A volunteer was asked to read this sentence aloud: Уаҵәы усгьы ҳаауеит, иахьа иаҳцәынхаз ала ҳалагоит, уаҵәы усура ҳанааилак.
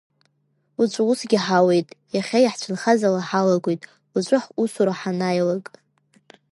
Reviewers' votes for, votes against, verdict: 0, 2, rejected